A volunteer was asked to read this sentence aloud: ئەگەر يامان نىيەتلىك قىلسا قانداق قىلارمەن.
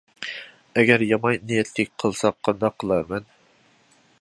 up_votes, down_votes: 1, 2